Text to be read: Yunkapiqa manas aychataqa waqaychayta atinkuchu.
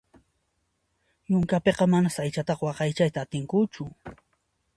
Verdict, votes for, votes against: accepted, 2, 0